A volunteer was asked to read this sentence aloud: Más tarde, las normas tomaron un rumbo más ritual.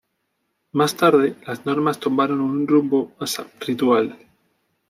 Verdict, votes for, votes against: rejected, 1, 2